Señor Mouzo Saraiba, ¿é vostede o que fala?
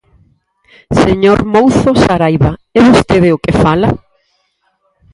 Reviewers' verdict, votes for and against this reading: rejected, 2, 2